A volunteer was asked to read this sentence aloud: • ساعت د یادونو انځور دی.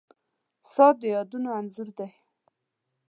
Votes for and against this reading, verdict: 2, 0, accepted